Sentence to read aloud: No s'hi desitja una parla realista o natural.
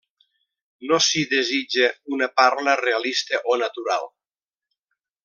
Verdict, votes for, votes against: accepted, 3, 0